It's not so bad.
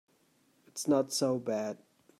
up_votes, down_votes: 2, 0